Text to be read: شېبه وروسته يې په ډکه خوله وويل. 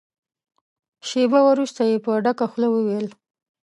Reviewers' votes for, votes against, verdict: 2, 0, accepted